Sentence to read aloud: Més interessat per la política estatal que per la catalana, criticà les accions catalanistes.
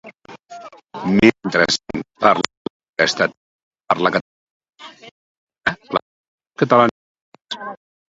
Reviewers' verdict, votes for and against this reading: rejected, 0, 2